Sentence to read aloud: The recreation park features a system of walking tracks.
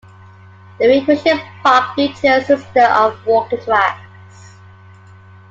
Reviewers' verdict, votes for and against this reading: accepted, 2, 1